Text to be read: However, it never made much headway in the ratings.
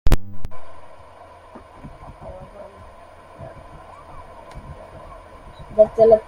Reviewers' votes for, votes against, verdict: 0, 2, rejected